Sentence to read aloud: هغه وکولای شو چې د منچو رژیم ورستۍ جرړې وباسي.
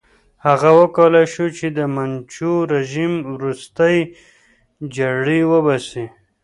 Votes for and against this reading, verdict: 2, 0, accepted